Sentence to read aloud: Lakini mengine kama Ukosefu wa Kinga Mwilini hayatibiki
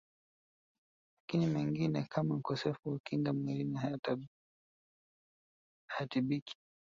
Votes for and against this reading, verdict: 0, 2, rejected